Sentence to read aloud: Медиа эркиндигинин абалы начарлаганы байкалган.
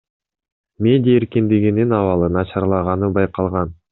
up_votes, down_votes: 2, 0